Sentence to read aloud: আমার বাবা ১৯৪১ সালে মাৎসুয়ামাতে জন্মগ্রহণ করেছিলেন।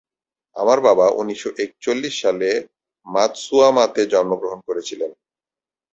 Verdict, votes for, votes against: rejected, 0, 2